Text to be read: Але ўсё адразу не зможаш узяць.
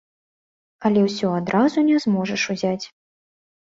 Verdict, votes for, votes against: accepted, 3, 0